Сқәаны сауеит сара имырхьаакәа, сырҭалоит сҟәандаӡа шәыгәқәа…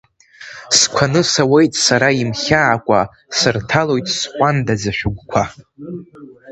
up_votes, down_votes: 1, 2